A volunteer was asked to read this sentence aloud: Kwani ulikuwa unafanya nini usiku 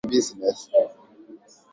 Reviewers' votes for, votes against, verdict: 0, 2, rejected